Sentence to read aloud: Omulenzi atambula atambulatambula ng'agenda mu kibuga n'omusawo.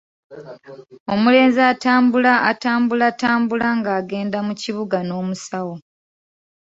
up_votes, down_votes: 2, 0